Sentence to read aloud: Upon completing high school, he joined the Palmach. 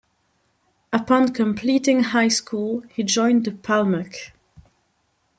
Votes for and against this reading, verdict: 2, 0, accepted